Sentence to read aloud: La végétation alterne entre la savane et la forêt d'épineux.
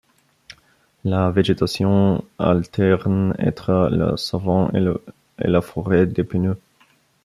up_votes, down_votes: 0, 2